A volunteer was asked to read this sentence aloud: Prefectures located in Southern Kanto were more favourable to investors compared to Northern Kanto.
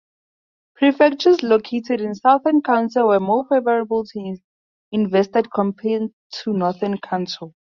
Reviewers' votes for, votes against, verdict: 0, 2, rejected